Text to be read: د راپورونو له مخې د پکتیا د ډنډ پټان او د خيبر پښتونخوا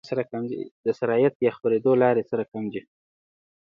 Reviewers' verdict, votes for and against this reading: rejected, 0, 2